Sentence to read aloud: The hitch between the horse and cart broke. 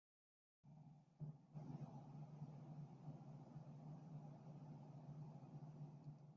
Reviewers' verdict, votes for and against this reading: rejected, 1, 2